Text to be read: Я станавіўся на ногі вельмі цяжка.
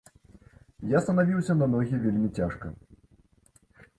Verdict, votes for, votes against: accepted, 2, 0